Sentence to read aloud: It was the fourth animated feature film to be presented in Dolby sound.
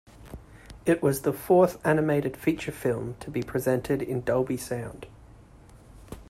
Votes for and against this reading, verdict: 2, 0, accepted